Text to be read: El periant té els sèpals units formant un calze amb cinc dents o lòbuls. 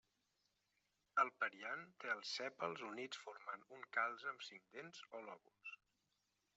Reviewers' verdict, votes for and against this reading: rejected, 0, 2